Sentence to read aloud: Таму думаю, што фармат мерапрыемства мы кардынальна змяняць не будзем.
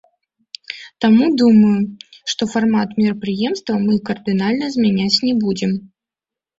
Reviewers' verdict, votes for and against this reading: accepted, 2, 0